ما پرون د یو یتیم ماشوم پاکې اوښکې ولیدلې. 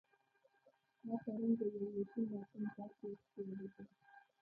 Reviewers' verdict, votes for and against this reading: rejected, 1, 2